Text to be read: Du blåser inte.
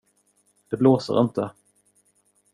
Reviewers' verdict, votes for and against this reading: rejected, 0, 2